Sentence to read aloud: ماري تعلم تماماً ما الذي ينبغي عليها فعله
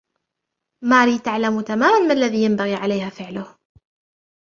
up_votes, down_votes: 2, 0